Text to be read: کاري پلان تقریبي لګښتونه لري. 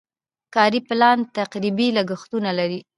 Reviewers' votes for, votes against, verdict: 2, 0, accepted